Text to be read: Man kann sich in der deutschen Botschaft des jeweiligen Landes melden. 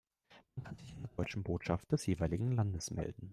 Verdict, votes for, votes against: rejected, 0, 2